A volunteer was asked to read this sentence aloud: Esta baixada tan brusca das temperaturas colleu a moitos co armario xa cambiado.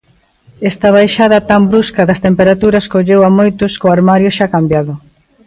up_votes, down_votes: 2, 0